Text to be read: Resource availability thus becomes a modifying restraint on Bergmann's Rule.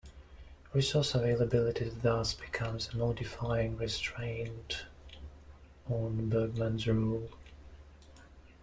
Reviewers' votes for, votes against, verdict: 2, 0, accepted